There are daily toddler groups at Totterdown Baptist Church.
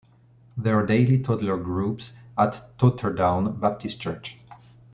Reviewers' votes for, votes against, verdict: 2, 0, accepted